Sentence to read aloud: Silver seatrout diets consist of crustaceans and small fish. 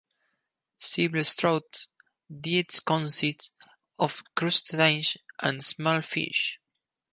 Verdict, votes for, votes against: accepted, 2, 0